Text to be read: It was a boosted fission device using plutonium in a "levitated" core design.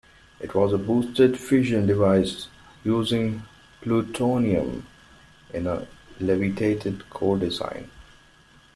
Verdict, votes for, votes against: accepted, 2, 0